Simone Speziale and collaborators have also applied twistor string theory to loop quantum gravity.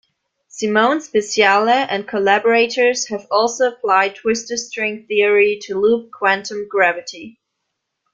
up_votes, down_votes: 0, 2